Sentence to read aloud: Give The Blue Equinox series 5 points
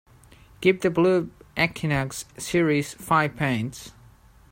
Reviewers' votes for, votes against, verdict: 0, 2, rejected